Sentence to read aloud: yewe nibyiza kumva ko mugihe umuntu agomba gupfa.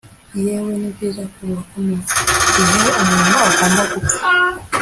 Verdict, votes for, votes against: rejected, 1, 2